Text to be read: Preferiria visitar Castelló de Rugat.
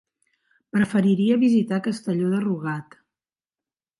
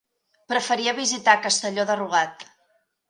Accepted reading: first